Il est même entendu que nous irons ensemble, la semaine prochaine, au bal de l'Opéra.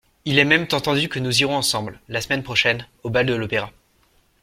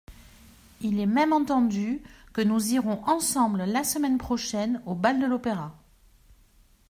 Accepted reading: second